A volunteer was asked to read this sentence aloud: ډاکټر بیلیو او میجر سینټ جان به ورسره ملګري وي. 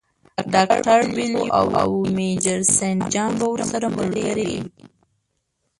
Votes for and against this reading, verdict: 2, 4, rejected